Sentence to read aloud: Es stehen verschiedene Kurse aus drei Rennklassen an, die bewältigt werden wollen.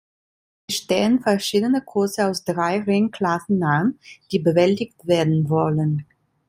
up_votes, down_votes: 2, 0